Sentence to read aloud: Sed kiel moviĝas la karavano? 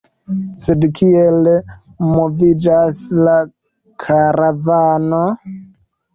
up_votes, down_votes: 1, 2